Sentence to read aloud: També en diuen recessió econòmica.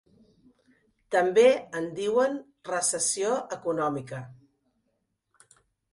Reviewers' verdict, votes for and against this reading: accepted, 4, 0